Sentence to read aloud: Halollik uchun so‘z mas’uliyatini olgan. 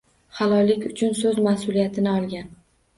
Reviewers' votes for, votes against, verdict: 2, 0, accepted